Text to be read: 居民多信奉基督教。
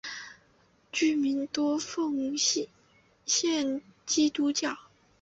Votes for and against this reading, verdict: 0, 2, rejected